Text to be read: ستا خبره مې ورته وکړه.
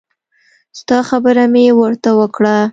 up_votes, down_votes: 2, 0